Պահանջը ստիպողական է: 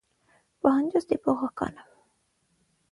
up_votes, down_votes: 3, 6